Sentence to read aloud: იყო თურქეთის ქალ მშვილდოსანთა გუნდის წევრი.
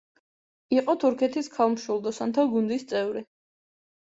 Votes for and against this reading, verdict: 2, 0, accepted